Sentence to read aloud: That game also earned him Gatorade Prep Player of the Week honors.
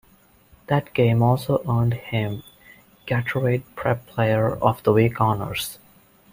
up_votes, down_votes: 0, 2